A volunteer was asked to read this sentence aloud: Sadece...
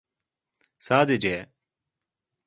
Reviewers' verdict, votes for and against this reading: accepted, 2, 0